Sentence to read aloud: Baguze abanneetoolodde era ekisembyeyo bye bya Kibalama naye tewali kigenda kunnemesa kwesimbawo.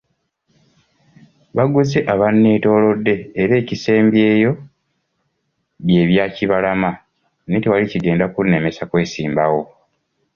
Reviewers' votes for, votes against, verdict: 2, 0, accepted